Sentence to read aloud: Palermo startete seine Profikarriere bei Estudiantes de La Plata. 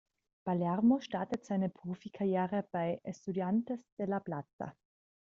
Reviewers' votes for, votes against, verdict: 2, 0, accepted